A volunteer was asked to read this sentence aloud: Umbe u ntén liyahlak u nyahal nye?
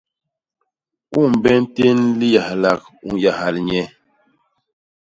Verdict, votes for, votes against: accepted, 2, 0